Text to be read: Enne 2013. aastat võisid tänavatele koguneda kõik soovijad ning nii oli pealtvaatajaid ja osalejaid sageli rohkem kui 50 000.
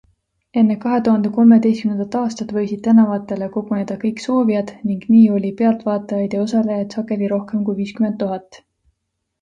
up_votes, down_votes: 0, 2